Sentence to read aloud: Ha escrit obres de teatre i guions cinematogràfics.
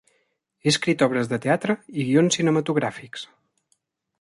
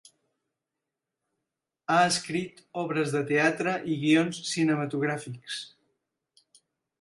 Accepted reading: second